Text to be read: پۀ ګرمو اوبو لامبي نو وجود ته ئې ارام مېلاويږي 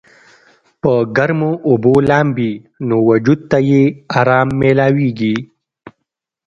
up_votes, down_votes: 2, 0